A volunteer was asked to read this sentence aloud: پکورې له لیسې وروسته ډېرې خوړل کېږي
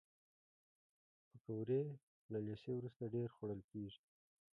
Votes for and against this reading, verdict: 0, 2, rejected